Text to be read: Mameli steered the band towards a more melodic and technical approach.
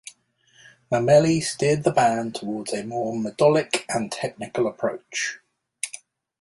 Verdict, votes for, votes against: rejected, 1, 2